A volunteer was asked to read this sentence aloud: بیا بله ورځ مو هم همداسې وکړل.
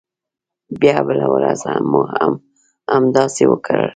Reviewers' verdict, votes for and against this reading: rejected, 1, 2